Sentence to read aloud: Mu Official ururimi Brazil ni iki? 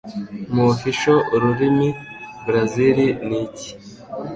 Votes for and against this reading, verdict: 2, 0, accepted